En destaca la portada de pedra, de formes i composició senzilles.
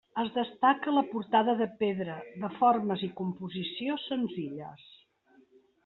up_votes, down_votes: 1, 2